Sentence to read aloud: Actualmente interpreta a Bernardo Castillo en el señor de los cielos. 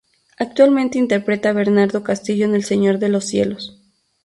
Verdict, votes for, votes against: rejected, 0, 2